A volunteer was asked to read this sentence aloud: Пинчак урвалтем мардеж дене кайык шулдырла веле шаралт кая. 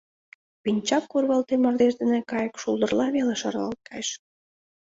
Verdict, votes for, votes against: rejected, 1, 2